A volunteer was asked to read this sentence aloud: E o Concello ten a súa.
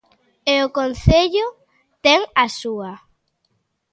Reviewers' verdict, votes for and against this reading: accepted, 2, 0